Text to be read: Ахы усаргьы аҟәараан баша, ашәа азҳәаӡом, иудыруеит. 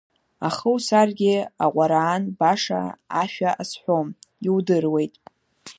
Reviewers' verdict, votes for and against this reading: rejected, 0, 2